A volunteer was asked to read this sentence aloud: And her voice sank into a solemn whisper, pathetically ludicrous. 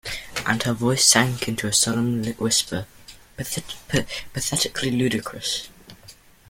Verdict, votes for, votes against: accepted, 2, 0